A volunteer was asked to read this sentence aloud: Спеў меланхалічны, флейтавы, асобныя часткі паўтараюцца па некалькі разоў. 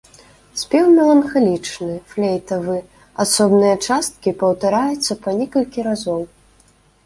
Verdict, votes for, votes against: accepted, 2, 0